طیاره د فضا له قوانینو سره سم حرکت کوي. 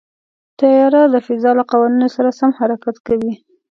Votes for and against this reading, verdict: 2, 0, accepted